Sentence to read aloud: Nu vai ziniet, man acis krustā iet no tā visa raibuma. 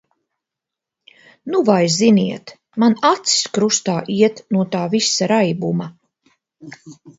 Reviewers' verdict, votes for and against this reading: accepted, 2, 0